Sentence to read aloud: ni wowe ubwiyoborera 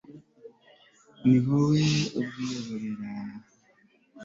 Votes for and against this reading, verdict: 2, 0, accepted